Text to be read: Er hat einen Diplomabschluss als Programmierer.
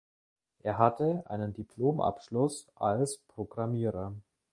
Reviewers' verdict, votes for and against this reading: rejected, 0, 2